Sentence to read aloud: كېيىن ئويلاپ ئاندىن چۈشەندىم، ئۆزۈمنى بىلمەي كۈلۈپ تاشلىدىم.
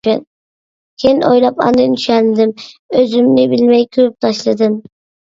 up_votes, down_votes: 0, 2